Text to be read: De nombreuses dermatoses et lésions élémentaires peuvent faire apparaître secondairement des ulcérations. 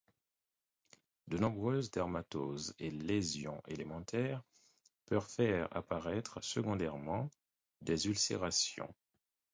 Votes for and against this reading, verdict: 4, 0, accepted